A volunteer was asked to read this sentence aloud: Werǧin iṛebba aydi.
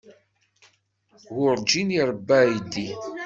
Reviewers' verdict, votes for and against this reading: rejected, 1, 2